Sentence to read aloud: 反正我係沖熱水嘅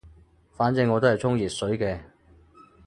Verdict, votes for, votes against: rejected, 0, 2